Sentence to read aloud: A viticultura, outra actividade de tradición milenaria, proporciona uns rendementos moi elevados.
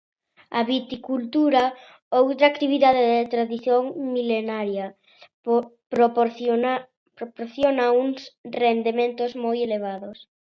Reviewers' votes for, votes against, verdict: 0, 2, rejected